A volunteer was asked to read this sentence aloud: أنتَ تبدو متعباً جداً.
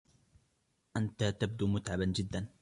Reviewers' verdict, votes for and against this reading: rejected, 1, 2